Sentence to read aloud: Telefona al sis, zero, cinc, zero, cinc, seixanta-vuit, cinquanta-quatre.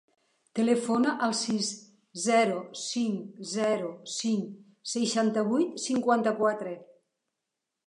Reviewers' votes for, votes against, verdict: 3, 0, accepted